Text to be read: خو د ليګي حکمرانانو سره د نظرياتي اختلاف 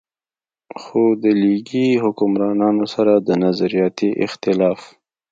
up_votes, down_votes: 2, 0